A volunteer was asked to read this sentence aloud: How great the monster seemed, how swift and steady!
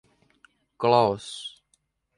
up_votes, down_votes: 0, 2